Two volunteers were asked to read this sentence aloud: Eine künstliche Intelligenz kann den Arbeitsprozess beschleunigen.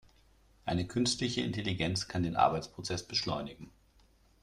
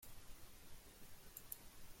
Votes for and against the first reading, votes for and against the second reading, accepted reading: 2, 0, 0, 2, first